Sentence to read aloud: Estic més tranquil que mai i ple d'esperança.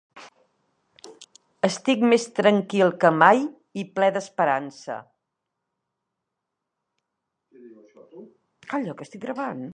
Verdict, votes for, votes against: rejected, 0, 2